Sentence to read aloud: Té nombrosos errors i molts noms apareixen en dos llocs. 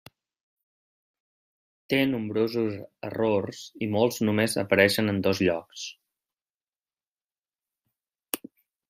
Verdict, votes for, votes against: rejected, 0, 2